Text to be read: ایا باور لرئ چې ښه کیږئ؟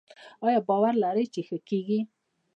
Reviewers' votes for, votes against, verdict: 0, 2, rejected